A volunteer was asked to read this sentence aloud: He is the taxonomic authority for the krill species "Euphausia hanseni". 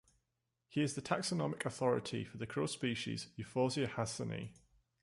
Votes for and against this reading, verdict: 2, 0, accepted